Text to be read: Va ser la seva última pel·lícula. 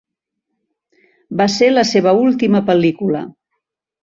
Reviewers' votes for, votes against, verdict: 3, 0, accepted